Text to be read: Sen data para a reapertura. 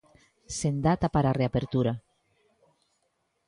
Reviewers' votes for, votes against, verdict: 2, 0, accepted